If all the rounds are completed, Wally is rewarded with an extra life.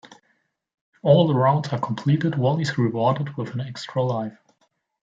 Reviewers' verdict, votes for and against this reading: rejected, 0, 2